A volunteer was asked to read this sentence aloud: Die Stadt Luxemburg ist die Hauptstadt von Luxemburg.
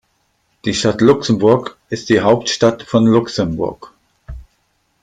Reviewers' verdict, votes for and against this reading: accepted, 3, 1